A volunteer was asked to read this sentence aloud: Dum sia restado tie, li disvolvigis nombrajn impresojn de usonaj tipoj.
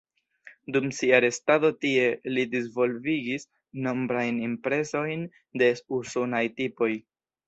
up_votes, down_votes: 1, 2